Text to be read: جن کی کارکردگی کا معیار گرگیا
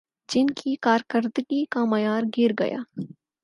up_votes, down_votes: 4, 0